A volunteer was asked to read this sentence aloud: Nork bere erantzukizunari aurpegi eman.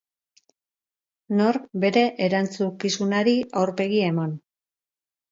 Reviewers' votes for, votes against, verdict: 0, 2, rejected